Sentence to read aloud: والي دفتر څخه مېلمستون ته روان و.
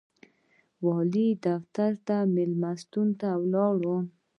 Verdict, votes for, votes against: rejected, 1, 2